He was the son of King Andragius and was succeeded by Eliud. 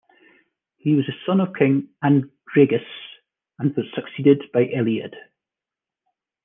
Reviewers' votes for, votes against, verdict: 1, 2, rejected